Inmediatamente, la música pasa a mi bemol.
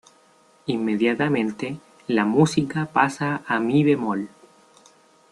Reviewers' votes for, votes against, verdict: 1, 2, rejected